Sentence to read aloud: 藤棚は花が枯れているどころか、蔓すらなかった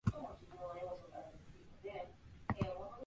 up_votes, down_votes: 0, 3